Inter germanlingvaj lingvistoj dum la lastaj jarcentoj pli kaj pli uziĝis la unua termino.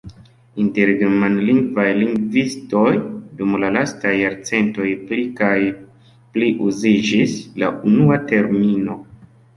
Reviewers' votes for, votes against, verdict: 2, 1, accepted